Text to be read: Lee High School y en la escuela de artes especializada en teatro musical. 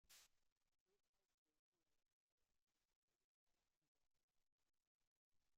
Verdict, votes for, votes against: rejected, 0, 2